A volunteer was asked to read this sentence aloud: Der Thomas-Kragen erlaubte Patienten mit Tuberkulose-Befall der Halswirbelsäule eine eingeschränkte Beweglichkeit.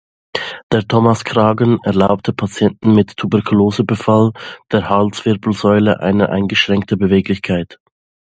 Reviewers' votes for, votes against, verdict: 2, 0, accepted